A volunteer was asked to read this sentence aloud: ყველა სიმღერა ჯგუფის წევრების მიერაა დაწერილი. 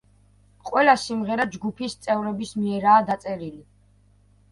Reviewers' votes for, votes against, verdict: 1, 2, rejected